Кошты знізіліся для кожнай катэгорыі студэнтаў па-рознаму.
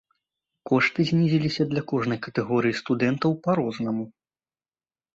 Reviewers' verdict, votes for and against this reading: accepted, 2, 0